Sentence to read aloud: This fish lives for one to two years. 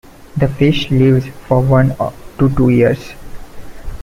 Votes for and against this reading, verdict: 1, 2, rejected